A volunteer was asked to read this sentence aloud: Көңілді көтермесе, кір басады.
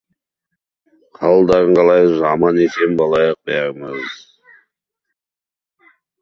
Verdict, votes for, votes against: rejected, 0, 2